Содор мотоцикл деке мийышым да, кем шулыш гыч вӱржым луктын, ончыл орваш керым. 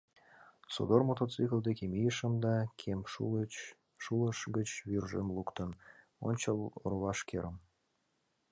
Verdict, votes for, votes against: rejected, 1, 2